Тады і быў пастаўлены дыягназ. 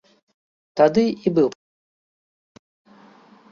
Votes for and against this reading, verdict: 0, 2, rejected